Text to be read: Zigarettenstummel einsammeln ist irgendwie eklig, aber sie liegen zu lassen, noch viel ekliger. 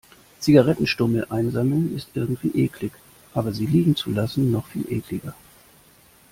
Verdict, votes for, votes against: accepted, 2, 0